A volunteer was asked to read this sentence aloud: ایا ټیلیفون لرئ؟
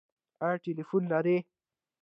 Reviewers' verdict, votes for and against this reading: accepted, 2, 0